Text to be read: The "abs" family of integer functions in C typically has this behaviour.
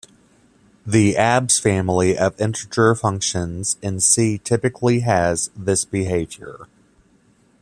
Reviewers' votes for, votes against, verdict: 1, 2, rejected